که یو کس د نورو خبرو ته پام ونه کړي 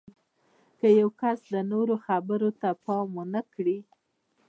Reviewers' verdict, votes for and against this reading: accepted, 2, 0